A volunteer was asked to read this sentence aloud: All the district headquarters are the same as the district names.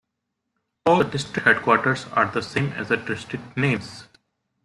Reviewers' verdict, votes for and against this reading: accepted, 2, 1